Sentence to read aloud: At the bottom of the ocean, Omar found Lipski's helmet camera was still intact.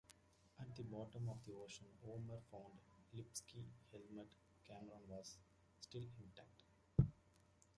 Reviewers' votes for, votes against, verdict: 1, 2, rejected